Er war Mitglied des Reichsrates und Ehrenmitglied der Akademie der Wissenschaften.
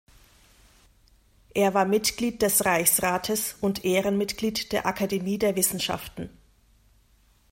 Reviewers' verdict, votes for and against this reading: accepted, 2, 0